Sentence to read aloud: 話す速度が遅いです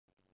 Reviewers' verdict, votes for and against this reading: rejected, 0, 2